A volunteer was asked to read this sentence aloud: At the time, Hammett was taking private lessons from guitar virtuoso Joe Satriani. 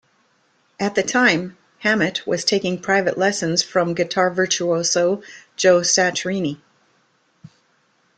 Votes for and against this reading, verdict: 2, 1, accepted